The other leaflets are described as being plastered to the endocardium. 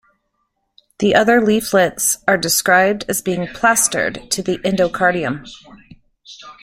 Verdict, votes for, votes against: accepted, 2, 1